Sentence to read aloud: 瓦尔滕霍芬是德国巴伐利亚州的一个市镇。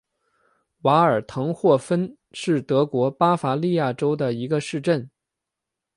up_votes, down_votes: 2, 0